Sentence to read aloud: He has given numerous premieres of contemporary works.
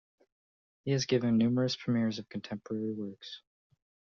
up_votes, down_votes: 2, 0